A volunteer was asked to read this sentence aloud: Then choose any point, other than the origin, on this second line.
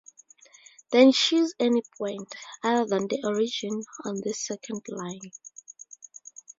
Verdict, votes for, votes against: accepted, 2, 0